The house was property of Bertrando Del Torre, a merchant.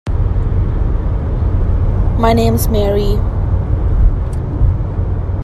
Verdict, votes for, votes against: rejected, 0, 2